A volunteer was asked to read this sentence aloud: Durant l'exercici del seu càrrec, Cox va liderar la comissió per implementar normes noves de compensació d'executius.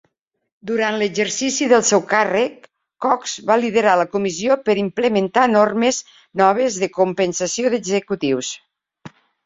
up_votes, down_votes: 3, 0